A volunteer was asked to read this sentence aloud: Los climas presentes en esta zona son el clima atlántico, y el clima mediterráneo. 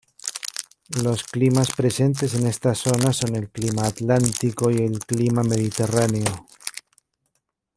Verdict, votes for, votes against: rejected, 1, 2